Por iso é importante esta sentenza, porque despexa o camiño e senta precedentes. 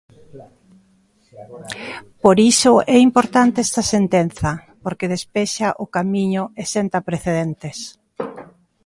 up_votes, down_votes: 2, 0